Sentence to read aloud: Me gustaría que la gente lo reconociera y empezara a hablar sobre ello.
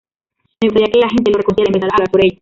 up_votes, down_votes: 0, 2